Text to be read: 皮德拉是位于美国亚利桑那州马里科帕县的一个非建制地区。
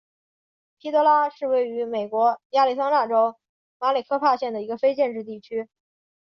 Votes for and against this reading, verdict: 4, 0, accepted